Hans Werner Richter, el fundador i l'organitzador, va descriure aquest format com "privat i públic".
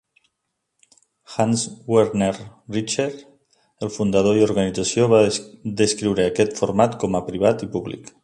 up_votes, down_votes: 0, 2